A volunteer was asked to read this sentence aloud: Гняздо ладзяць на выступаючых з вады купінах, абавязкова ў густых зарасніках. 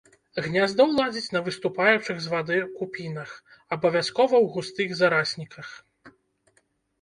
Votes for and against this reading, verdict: 1, 2, rejected